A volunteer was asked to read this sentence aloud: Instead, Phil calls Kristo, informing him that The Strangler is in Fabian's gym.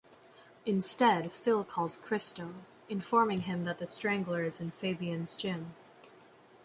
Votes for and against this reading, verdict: 2, 0, accepted